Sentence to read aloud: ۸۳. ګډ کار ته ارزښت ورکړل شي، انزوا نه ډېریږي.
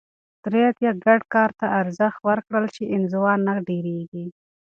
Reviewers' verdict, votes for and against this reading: rejected, 0, 2